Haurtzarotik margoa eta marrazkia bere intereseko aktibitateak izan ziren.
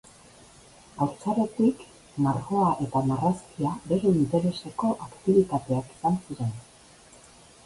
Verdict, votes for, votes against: accepted, 2, 0